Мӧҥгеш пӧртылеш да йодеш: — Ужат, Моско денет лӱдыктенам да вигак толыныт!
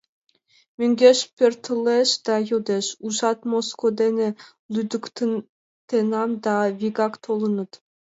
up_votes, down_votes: 2, 3